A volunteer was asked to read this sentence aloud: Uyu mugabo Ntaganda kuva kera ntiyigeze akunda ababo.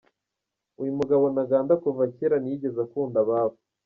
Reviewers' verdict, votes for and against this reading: rejected, 0, 2